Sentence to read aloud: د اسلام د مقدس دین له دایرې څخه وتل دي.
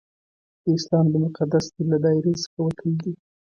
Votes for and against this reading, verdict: 1, 2, rejected